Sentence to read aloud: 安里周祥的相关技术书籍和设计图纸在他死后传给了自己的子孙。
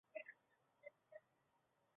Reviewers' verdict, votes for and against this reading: rejected, 0, 2